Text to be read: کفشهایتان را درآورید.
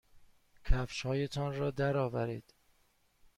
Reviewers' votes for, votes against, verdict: 2, 0, accepted